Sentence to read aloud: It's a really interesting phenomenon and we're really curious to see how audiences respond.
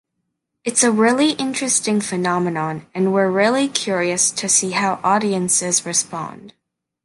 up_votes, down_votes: 2, 0